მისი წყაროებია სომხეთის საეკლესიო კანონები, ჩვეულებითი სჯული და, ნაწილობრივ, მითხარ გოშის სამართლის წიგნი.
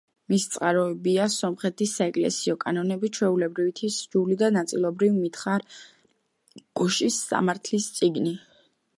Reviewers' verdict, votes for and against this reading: rejected, 1, 2